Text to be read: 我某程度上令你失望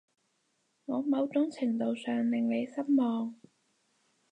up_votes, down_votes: 0, 4